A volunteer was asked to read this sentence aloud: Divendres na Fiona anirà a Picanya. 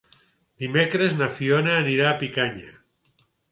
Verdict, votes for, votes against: rejected, 0, 4